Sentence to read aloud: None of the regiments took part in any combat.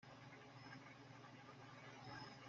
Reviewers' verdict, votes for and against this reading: rejected, 0, 2